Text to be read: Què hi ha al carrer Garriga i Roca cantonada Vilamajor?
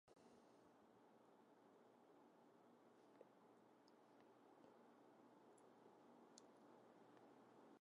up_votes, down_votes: 0, 2